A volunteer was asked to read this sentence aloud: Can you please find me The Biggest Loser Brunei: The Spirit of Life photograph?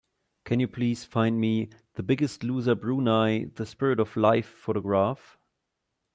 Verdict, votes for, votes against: accepted, 3, 0